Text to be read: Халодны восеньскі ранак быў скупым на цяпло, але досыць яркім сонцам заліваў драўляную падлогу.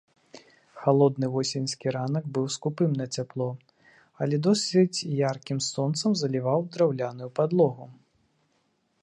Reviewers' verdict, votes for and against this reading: rejected, 0, 2